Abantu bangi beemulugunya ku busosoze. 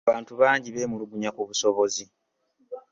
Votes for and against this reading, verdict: 0, 2, rejected